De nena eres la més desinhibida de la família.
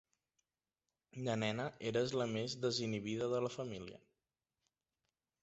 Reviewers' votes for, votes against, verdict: 2, 0, accepted